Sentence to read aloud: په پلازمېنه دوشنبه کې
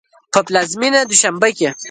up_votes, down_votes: 2, 0